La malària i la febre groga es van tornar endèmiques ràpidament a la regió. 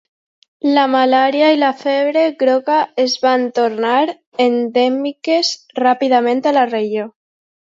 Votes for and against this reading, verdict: 2, 0, accepted